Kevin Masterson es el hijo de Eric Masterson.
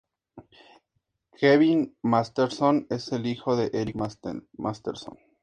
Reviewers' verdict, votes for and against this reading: accepted, 2, 0